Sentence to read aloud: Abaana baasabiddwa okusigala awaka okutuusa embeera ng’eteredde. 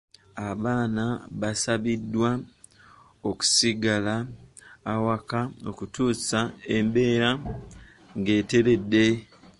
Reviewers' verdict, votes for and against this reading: accepted, 2, 1